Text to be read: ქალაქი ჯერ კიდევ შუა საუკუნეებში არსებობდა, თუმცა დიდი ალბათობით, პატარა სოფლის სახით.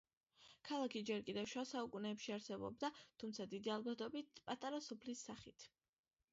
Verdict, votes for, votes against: accepted, 2, 0